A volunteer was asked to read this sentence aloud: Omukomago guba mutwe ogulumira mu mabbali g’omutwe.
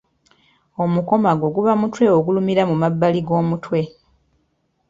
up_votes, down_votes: 2, 0